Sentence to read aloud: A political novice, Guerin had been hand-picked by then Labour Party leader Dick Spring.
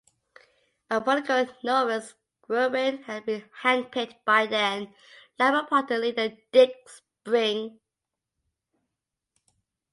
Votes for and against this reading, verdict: 3, 0, accepted